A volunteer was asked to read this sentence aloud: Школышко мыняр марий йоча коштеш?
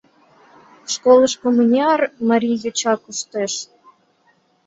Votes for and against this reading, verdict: 2, 0, accepted